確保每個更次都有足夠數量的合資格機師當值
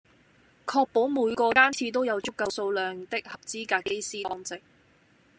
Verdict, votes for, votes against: rejected, 0, 2